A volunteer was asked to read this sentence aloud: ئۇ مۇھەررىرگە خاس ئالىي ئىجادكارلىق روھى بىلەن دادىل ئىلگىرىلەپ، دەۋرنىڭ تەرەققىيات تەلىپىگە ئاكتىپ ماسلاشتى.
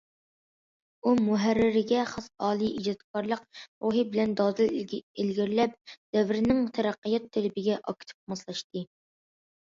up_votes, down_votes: 0, 2